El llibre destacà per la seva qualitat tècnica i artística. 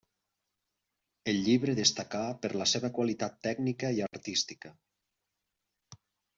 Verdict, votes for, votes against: accepted, 3, 0